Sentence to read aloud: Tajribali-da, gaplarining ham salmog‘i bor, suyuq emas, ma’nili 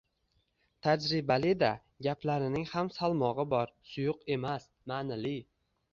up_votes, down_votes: 2, 0